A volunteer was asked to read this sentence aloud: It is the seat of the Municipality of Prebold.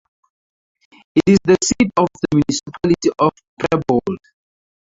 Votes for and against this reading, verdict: 2, 8, rejected